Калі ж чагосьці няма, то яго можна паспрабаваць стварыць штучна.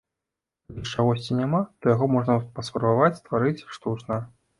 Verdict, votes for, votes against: rejected, 0, 2